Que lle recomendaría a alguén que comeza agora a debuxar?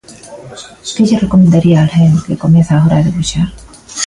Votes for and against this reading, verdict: 2, 0, accepted